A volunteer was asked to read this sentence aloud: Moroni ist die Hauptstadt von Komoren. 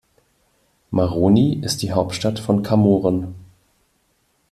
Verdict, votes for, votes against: rejected, 1, 3